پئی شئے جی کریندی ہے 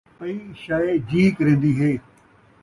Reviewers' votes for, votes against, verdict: 2, 0, accepted